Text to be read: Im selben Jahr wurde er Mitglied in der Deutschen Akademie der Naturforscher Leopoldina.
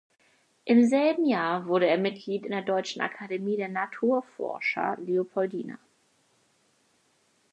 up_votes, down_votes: 4, 0